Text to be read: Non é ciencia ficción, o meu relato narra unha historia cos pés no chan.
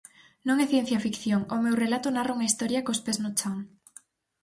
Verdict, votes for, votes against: accepted, 4, 0